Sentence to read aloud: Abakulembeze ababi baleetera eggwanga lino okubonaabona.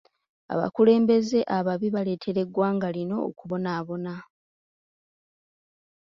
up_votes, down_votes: 2, 1